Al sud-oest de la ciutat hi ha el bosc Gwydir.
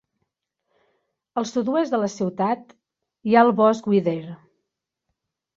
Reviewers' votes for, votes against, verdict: 1, 2, rejected